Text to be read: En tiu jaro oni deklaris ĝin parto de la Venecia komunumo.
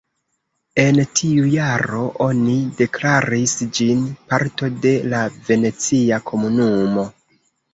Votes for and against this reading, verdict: 1, 2, rejected